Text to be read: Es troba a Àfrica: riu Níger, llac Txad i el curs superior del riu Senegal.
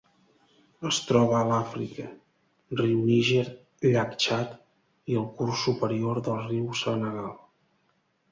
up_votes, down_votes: 1, 2